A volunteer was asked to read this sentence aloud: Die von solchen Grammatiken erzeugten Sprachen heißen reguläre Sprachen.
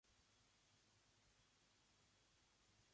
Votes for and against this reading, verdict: 0, 2, rejected